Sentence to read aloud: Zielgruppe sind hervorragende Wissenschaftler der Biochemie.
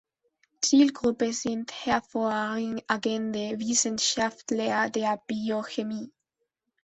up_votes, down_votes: 0, 2